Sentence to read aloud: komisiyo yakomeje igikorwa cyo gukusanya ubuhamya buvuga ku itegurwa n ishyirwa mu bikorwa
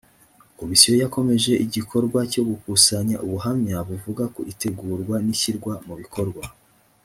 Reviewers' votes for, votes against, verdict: 2, 0, accepted